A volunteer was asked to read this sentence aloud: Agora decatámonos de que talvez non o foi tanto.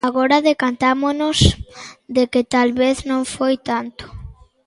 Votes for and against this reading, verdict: 0, 2, rejected